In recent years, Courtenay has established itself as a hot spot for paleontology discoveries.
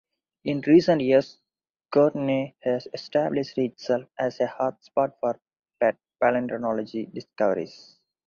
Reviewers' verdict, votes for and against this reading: rejected, 2, 4